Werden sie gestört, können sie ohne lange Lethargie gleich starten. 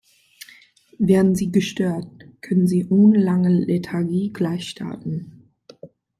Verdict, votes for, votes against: accepted, 2, 0